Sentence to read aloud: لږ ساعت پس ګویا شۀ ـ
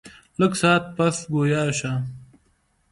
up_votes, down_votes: 2, 0